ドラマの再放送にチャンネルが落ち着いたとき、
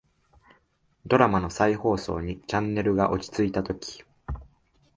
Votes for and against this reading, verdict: 2, 0, accepted